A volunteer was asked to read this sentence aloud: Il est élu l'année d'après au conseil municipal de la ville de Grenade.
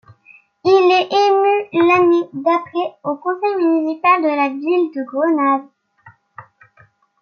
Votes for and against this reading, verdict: 2, 1, accepted